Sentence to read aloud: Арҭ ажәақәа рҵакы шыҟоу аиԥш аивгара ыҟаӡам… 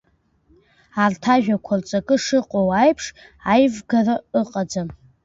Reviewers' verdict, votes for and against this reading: accepted, 2, 0